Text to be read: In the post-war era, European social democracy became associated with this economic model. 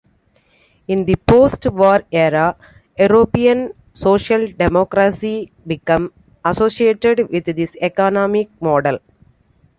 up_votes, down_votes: 2, 1